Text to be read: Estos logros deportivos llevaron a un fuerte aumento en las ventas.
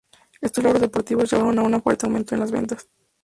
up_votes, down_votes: 4, 4